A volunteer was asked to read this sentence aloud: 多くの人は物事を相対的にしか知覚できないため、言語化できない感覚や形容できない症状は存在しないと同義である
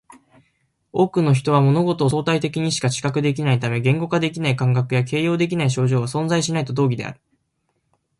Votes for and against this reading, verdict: 1, 2, rejected